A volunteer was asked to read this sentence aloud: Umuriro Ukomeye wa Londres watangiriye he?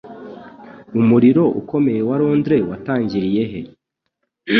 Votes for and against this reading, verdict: 2, 0, accepted